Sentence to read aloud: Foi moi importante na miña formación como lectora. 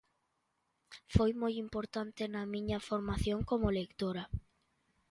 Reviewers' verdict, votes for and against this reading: accepted, 2, 1